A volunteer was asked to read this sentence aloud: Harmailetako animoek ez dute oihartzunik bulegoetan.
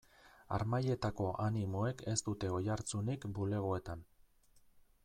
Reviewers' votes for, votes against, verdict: 2, 0, accepted